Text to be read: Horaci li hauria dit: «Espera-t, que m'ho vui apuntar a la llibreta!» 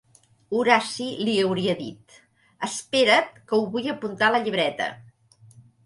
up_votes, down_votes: 0, 2